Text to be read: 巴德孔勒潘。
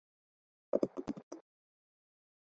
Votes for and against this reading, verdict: 0, 3, rejected